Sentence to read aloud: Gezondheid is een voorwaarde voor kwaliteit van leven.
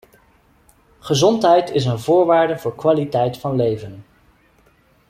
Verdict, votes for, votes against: accepted, 2, 0